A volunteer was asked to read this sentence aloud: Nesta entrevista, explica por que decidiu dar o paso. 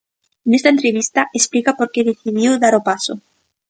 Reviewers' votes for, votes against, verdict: 3, 0, accepted